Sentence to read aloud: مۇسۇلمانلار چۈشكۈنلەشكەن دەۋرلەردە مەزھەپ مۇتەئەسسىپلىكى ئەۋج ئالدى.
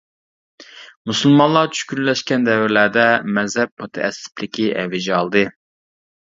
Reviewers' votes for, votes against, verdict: 2, 1, accepted